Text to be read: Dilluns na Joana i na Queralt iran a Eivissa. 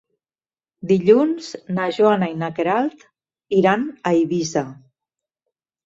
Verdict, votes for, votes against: accepted, 3, 0